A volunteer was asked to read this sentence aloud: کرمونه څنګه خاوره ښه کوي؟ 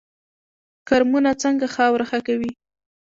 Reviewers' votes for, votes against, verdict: 2, 0, accepted